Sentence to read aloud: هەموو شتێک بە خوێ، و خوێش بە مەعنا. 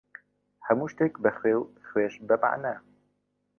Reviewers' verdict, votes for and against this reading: accepted, 2, 0